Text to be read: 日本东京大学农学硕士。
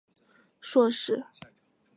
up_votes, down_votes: 0, 5